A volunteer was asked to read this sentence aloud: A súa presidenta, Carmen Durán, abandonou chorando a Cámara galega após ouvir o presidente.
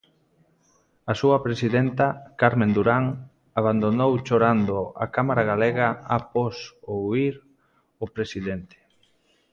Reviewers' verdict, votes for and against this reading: rejected, 1, 2